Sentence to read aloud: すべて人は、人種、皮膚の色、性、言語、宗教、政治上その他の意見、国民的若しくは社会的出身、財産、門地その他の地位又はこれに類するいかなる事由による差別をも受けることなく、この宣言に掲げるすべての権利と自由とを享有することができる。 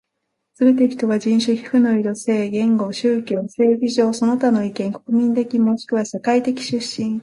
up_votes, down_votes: 0, 2